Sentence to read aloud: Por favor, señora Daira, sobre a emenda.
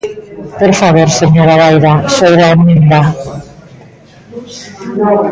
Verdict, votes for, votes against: rejected, 0, 3